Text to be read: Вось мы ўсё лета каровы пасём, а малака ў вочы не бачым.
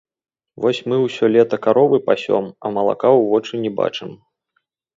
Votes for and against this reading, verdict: 1, 2, rejected